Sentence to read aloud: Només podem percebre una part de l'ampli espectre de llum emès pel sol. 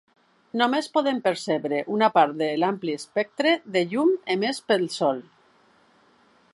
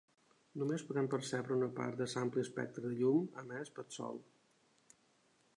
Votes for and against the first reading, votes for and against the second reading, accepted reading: 3, 0, 0, 2, first